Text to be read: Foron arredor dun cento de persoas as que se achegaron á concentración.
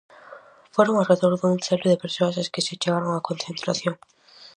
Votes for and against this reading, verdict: 2, 2, rejected